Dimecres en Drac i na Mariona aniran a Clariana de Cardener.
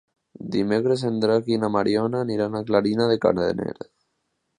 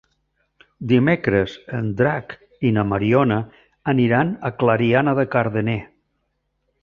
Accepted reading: second